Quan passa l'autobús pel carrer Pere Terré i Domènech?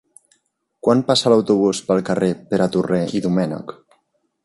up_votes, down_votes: 0, 2